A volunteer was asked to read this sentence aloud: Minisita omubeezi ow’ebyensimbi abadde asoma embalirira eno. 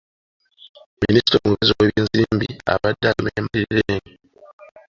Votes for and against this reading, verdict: 0, 2, rejected